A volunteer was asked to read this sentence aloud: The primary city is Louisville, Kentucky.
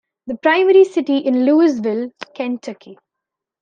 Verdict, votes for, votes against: rejected, 1, 3